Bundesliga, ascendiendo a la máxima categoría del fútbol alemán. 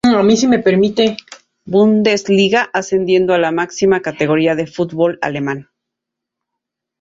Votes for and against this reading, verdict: 0, 2, rejected